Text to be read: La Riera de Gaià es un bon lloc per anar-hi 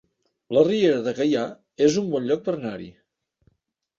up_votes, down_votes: 1, 2